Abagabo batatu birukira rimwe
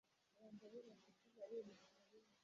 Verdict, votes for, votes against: rejected, 0, 2